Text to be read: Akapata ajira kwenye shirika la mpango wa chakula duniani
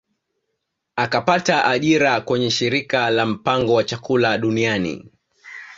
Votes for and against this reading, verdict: 2, 0, accepted